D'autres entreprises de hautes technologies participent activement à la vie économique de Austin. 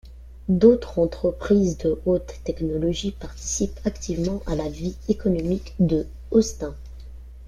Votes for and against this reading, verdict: 2, 1, accepted